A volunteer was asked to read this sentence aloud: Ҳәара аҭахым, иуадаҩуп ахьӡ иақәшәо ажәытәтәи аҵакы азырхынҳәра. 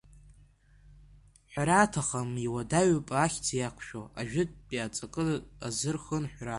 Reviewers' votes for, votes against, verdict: 2, 0, accepted